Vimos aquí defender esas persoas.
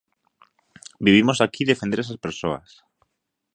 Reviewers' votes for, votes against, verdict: 0, 2, rejected